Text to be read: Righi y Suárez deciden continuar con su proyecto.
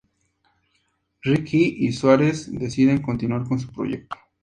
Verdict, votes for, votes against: accepted, 2, 0